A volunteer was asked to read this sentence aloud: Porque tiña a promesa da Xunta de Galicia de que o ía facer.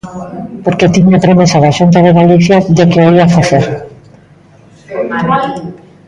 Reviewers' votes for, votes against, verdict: 1, 2, rejected